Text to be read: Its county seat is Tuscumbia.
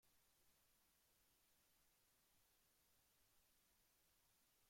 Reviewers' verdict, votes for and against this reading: rejected, 0, 2